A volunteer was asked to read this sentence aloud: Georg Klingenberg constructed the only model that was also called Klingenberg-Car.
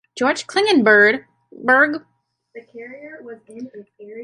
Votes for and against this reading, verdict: 0, 2, rejected